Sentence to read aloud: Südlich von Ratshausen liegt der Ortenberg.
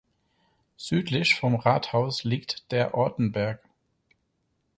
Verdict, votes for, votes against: rejected, 0, 4